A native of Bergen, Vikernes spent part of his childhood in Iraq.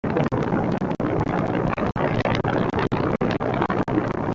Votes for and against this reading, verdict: 0, 2, rejected